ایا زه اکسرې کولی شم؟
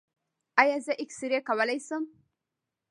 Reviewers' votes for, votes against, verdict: 0, 2, rejected